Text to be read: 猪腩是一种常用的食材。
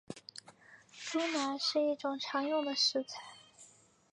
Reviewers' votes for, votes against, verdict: 1, 2, rejected